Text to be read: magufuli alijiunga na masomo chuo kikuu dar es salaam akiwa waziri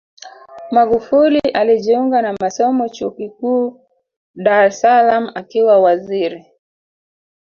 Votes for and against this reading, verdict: 2, 3, rejected